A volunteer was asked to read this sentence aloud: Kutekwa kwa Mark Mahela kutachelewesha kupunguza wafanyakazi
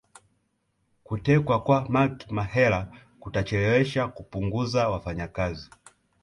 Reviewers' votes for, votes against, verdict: 0, 2, rejected